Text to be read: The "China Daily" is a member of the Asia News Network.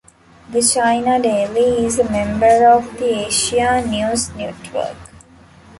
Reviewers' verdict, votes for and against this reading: rejected, 1, 2